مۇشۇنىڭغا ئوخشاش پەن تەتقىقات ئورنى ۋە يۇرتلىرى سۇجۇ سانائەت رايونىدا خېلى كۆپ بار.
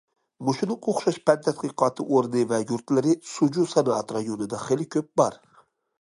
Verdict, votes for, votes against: rejected, 1, 2